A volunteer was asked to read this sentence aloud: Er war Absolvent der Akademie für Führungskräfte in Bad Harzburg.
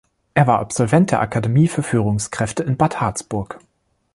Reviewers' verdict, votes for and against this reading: accepted, 2, 0